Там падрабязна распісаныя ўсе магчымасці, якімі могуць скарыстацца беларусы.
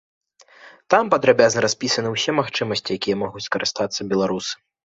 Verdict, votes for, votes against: rejected, 0, 2